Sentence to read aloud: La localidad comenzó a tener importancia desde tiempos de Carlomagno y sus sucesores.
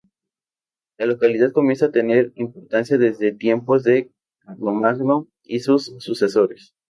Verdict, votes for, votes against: rejected, 0, 2